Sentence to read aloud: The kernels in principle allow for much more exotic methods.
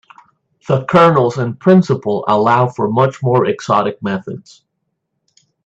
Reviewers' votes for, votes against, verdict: 2, 0, accepted